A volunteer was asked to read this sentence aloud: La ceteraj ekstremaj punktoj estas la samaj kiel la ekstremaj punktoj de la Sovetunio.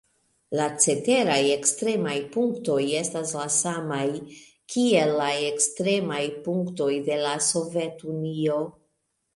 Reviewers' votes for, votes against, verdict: 3, 1, accepted